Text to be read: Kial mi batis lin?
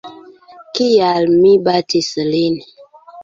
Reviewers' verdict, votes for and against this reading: accepted, 2, 0